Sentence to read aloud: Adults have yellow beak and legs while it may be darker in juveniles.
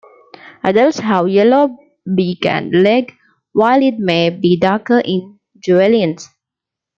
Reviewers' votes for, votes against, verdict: 0, 2, rejected